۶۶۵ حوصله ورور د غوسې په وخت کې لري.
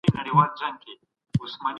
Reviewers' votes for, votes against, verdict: 0, 2, rejected